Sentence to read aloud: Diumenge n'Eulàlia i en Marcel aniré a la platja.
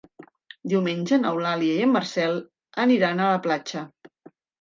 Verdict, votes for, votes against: rejected, 0, 3